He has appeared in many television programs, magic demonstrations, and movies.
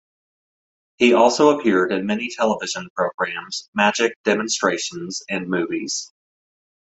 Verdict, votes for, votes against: rejected, 1, 2